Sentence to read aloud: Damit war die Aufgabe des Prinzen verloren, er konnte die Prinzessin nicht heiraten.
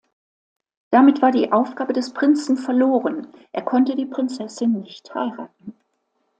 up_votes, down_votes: 2, 0